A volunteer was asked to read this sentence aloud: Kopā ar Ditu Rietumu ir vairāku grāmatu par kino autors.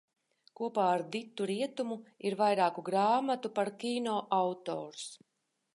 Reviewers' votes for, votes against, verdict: 2, 0, accepted